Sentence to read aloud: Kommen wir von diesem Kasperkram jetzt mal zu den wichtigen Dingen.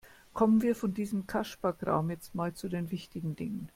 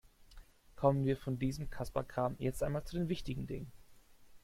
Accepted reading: first